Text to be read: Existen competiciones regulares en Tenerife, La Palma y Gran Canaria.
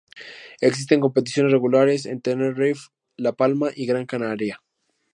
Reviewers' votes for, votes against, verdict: 0, 2, rejected